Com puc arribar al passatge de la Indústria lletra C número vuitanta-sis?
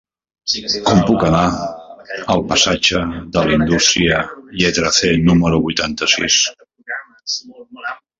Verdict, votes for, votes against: rejected, 0, 2